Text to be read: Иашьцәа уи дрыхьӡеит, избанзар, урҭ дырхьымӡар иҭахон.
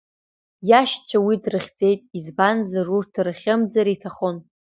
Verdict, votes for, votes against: accepted, 2, 1